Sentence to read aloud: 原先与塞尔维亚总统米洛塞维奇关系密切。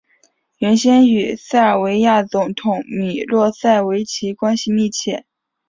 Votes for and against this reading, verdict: 4, 0, accepted